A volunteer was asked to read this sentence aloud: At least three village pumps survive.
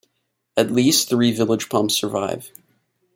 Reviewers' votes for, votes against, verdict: 2, 0, accepted